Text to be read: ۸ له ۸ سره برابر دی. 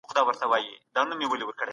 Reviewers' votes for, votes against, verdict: 0, 2, rejected